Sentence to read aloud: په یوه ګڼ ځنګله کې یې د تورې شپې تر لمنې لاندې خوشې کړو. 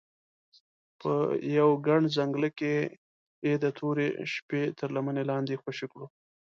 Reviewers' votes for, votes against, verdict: 2, 0, accepted